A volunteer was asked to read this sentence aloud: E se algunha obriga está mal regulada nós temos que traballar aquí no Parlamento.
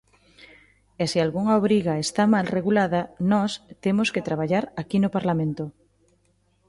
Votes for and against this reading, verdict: 2, 0, accepted